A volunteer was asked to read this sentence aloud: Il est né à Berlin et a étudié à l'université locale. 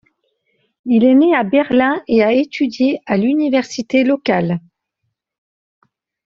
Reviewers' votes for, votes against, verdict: 2, 0, accepted